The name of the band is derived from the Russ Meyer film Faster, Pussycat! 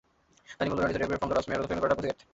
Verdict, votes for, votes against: rejected, 0, 2